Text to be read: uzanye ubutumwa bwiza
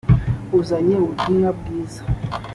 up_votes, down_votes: 2, 0